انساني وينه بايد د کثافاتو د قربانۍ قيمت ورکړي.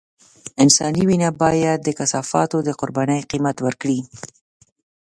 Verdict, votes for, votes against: accepted, 2, 0